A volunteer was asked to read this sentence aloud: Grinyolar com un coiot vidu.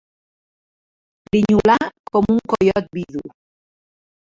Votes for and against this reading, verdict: 2, 1, accepted